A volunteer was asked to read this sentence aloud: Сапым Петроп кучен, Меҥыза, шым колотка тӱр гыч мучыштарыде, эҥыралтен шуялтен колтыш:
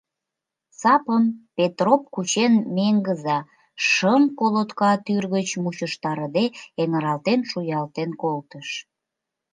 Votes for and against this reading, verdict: 0, 2, rejected